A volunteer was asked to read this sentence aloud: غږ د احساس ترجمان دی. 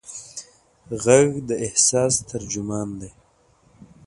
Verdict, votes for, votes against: accepted, 2, 0